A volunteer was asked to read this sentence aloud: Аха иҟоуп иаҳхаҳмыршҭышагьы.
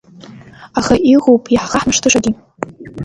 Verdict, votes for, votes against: rejected, 0, 2